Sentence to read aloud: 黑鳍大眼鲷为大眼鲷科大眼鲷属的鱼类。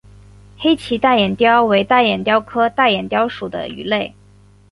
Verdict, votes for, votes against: accepted, 4, 1